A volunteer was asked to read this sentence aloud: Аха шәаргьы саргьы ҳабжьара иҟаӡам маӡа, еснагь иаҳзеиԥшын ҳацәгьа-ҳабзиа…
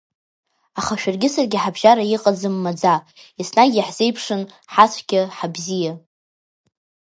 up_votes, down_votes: 2, 0